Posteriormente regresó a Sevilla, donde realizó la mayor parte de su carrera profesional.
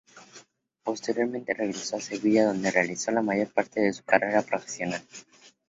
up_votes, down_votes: 4, 0